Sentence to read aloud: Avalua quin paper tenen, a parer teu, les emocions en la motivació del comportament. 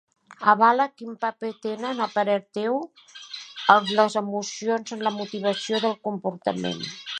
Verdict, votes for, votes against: rejected, 1, 2